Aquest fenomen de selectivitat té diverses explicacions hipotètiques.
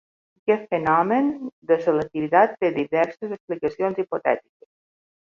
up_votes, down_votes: 1, 2